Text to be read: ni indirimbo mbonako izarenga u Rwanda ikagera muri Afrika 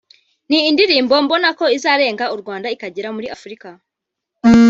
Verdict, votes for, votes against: accepted, 2, 1